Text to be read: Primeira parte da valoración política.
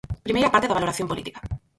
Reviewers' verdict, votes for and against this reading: rejected, 2, 4